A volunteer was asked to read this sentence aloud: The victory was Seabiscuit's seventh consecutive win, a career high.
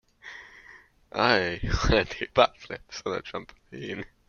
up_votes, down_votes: 0, 2